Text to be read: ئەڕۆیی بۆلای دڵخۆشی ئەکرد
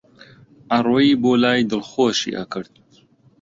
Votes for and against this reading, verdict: 2, 0, accepted